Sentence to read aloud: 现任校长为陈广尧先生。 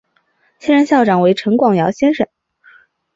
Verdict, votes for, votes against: accepted, 3, 0